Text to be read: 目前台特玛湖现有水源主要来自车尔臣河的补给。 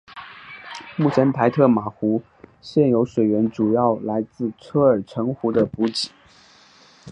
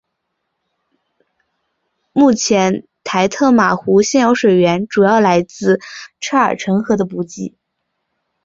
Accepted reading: first